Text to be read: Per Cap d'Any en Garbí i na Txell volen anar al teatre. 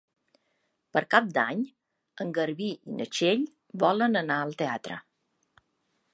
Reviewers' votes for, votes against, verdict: 3, 0, accepted